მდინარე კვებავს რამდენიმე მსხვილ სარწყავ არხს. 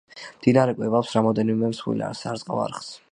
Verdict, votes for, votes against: rejected, 0, 2